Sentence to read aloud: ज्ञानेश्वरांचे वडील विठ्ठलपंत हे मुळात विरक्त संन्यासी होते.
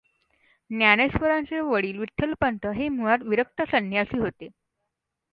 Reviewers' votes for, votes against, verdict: 2, 0, accepted